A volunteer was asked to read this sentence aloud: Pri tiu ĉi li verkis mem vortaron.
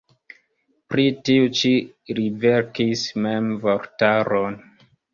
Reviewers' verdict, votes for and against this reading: rejected, 1, 2